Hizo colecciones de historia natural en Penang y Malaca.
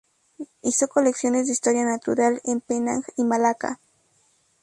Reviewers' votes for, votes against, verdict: 2, 0, accepted